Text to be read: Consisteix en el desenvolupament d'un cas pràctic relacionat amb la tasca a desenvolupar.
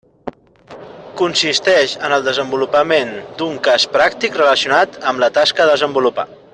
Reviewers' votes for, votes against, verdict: 1, 2, rejected